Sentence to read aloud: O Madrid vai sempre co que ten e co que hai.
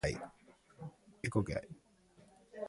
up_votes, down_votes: 0, 2